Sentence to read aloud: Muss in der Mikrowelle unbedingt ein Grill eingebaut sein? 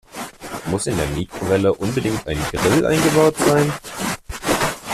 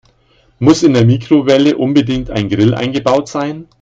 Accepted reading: second